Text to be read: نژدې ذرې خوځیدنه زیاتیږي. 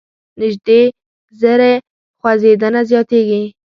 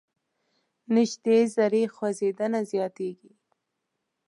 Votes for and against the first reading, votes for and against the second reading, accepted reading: 0, 2, 2, 0, second